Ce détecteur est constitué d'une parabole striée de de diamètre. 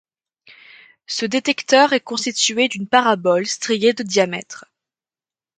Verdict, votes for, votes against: rejected, 1, 2